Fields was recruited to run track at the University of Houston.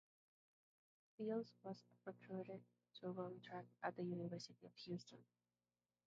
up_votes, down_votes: 2, 0